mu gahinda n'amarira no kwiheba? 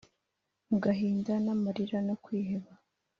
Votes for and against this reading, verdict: 2, 0, accepted